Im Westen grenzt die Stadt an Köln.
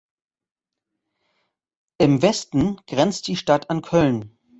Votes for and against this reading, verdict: 2, 0, accepted